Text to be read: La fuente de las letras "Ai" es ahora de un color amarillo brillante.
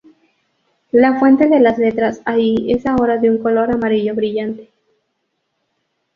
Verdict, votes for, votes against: accepted, 2, 0